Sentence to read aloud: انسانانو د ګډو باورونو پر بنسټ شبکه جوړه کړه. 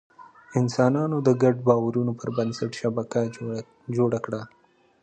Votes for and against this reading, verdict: 2, 1, accepted